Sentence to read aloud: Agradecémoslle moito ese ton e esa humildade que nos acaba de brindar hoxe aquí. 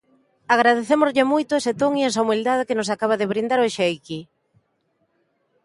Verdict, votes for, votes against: accepted, 2, 0